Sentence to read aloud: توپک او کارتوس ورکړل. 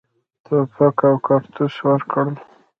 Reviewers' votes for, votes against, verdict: 1, 2, rejected